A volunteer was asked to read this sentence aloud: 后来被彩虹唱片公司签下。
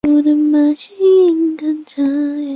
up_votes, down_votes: 1, 2